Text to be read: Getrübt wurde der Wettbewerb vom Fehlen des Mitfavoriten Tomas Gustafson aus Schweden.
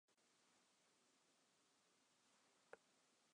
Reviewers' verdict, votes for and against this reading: rejected, 0, 2